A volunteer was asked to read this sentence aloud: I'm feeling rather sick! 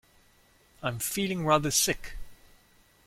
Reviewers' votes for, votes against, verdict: 2, 0, accepted